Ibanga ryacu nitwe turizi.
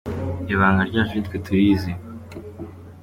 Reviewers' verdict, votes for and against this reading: accepted, 2, 0